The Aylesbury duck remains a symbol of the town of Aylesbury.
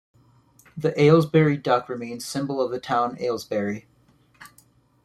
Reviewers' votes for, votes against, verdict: 1, 2, rejected